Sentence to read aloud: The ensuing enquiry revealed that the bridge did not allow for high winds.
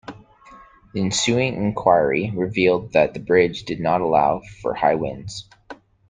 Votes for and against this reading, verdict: 2, 0, accepted